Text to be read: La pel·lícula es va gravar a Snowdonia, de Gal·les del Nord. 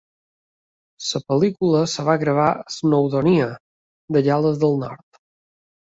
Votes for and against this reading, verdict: 0, 3, rejected